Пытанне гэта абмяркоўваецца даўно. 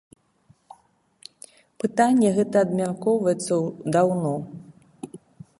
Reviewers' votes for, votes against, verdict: 1, 2, rejected